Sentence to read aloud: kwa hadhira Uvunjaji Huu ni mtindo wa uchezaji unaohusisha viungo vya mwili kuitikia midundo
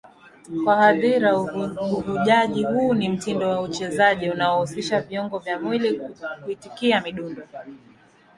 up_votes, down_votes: 0, 2